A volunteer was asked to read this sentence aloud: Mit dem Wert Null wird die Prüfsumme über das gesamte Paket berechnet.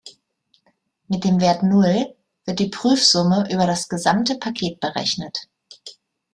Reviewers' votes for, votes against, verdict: 2, 0, accepted